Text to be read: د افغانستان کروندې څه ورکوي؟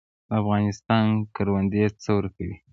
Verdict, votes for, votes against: rejected, 1, 2